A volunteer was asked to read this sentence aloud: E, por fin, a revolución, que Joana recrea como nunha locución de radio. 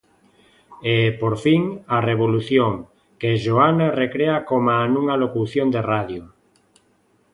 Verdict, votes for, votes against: rejected, 1, 2